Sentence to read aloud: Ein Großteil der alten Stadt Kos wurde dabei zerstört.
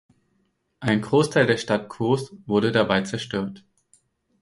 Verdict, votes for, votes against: rejected, 2, 4